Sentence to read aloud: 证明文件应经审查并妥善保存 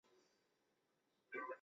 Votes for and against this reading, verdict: 1, 2, rejected